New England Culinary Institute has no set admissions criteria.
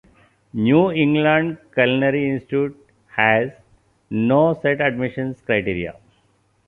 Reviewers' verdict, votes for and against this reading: accepted, 2, 0